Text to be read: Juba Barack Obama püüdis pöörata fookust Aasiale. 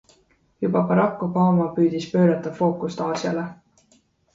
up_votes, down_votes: 2, 0